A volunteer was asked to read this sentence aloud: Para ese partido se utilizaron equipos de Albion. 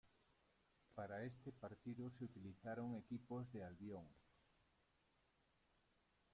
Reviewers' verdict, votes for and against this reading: rejected, 0, 2